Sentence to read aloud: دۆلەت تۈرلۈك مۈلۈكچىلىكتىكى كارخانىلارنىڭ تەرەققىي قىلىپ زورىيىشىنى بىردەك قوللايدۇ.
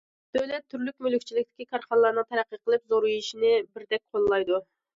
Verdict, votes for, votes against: accepted, 2, 0